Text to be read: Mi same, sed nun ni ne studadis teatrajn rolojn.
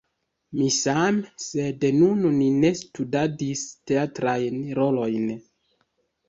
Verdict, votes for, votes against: rejected, 1, 2